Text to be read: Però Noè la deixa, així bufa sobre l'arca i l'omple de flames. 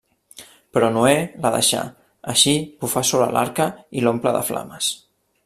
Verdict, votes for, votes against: rejected, 0, 2